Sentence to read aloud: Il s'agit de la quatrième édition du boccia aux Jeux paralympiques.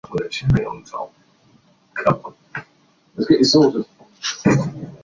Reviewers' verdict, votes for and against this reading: rejected, 0, 2